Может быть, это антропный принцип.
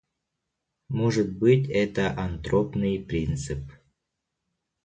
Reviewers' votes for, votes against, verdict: 0, 2, rejected